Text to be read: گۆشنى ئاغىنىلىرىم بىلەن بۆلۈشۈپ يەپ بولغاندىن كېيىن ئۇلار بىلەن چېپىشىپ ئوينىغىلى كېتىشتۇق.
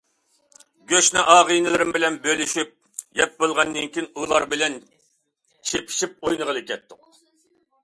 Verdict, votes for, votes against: rejected, 0, 2